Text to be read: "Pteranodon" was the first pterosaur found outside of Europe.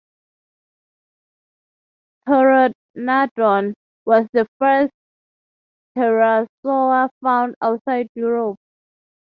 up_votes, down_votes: 0, 3